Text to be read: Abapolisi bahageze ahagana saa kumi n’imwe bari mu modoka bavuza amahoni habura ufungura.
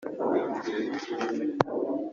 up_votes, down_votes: 0, 2